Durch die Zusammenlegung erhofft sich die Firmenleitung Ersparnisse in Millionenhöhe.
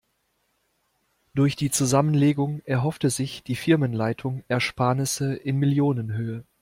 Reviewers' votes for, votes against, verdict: 0, 2, rejected